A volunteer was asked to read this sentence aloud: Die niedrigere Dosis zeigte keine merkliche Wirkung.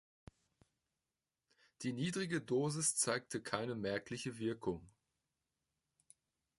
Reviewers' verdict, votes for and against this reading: rejected, 0, 2